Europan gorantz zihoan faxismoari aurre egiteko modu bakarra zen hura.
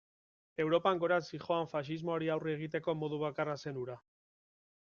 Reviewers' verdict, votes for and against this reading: accepted, 2, 0